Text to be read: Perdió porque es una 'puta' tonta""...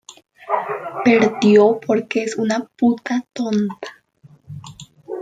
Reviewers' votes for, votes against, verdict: 1, 2, rejected